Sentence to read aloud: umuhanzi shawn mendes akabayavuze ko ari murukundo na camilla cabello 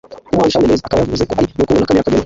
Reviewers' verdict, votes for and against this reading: rejected, 0, 2